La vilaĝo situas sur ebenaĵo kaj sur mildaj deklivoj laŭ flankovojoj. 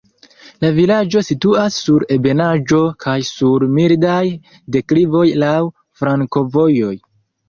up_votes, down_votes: 0, 2